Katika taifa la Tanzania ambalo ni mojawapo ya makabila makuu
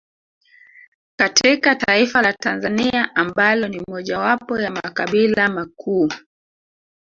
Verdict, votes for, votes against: rejected, 2, 3